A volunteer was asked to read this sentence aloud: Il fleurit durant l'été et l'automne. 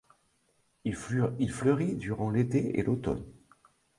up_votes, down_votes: 0, 2